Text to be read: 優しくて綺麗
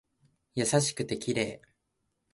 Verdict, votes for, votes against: accepted, 2, 0